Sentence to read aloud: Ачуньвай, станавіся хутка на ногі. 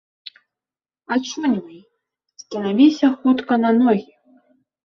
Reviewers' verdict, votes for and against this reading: accepted, 2, 0